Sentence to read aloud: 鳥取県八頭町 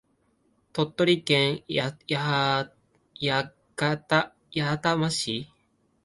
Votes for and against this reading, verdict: 0, 2, rejected